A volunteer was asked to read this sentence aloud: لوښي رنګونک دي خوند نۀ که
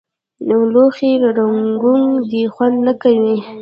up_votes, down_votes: 1, 2